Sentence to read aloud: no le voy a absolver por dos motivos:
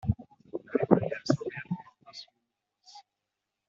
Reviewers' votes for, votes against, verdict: 1, 2, rejected